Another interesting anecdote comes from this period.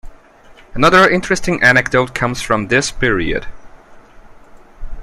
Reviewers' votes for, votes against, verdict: 2, 0, accepted